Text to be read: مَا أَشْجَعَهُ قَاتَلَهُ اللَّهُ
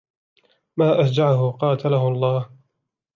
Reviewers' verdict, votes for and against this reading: accepted, 2, 0